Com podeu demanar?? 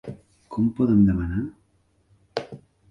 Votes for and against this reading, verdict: 2, 0, accepted